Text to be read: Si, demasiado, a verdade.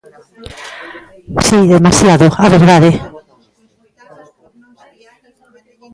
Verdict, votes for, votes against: rejected, 0, 2